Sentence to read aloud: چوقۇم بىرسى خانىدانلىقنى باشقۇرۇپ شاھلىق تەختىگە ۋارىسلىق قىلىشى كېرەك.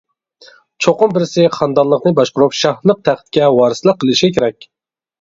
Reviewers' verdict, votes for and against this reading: rejected, 0, 2